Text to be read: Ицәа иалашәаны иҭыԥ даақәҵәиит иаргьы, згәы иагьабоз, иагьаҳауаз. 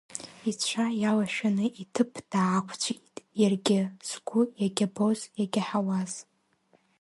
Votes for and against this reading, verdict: 1, 2, rejected